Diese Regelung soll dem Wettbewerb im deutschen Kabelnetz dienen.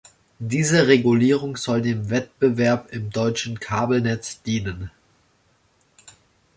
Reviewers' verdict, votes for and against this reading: rejected, 0, 2